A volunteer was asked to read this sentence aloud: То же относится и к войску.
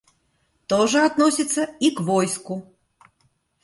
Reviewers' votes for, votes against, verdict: 2, 0, accepted